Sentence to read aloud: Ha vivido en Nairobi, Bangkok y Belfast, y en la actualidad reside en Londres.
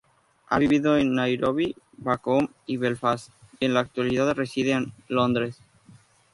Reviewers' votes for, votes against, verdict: 0, 2, rejected